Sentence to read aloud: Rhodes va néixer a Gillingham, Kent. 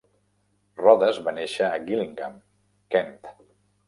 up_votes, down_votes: 1, 2